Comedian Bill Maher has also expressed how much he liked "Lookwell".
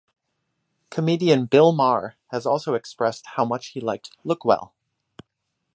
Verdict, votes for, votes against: accepted, 2, 0